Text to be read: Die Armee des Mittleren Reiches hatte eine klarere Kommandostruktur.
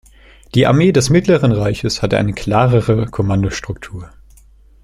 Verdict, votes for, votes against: accepted, 2, 0